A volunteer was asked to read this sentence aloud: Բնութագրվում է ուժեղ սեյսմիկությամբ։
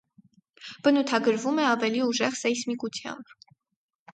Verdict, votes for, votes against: rejected, 0, 4